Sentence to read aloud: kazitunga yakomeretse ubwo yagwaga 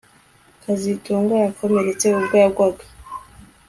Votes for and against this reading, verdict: 2, 0, accepted